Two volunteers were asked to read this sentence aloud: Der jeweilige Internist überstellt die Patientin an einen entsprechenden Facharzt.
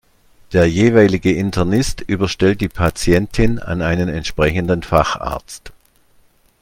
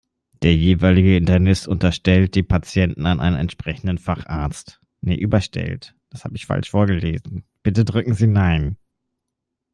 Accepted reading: first